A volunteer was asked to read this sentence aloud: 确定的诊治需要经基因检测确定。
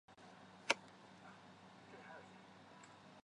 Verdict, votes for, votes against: rejected, 0, 2